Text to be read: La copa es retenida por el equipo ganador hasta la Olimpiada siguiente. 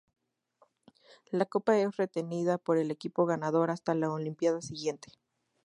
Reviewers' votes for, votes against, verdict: 2, 0, accepted